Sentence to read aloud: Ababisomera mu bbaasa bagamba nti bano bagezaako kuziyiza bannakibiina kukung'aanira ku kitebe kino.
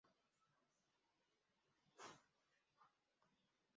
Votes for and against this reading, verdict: 0, 2, rejected